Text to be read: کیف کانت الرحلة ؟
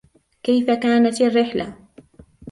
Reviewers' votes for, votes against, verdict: 1, 2, rejected